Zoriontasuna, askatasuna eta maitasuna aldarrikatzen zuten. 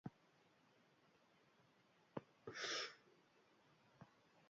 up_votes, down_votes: 0, 2